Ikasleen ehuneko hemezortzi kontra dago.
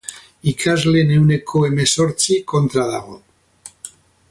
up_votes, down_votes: 2, 0